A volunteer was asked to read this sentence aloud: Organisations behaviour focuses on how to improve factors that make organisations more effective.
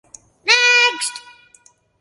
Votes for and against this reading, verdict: 0, 2, rejected